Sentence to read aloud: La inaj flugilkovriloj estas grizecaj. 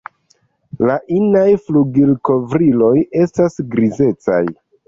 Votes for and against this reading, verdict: 1, 2, rejected